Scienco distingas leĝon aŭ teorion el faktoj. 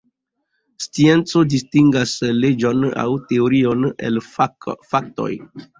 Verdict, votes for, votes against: accepted, 2, 0